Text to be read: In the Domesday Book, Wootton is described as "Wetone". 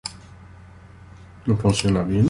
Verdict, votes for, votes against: rejected, 0, 2